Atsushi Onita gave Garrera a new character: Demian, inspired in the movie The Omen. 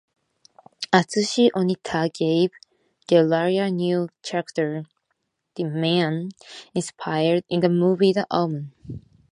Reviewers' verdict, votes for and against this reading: rejected, 0, 2